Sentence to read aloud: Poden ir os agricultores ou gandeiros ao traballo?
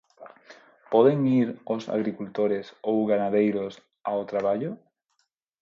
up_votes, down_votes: 0, 4